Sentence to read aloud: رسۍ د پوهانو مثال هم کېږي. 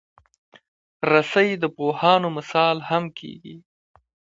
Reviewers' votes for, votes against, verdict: 1, 2, rejected